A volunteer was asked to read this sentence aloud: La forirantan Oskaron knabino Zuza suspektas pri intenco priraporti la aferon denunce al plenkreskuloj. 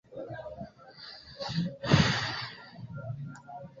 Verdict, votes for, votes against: accepted, 2, 1